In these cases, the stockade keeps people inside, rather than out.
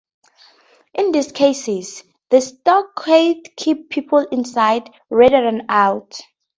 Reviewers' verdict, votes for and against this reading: rejected, 0, 2